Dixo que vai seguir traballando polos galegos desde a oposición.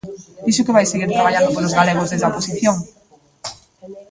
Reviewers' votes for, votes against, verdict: 0, 2, rejected